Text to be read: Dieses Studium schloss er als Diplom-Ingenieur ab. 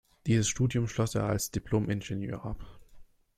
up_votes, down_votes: 2, 0